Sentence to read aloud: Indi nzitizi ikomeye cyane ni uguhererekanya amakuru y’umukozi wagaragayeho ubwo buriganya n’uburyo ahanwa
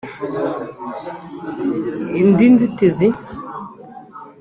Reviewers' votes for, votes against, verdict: 0, 2, rejected